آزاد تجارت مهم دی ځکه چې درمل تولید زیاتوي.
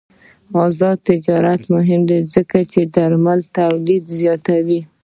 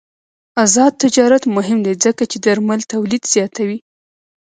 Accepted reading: first